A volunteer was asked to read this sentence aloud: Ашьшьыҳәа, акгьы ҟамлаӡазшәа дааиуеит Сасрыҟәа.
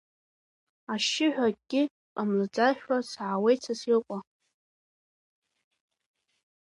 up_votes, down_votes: 1, 2